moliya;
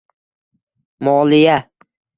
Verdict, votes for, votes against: accepted, 2, 0